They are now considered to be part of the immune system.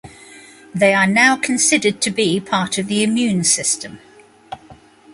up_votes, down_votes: 2, 0